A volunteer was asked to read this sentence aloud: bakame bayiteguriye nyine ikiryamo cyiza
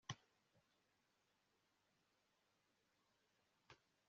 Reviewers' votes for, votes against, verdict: 1, 2, rejected